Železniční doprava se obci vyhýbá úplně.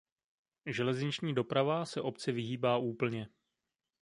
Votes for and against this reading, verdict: 2, 0, accepted